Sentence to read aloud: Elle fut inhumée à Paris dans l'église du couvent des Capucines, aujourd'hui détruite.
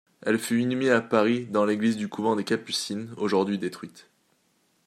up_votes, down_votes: 2, 0